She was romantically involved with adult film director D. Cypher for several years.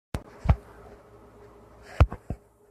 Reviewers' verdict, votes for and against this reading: rejected, 0, 2